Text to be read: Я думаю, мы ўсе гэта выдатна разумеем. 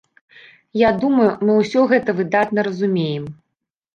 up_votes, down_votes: 0, 2